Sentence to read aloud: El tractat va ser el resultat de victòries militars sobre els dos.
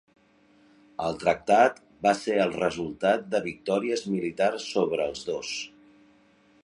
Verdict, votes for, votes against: accepted, 3, 0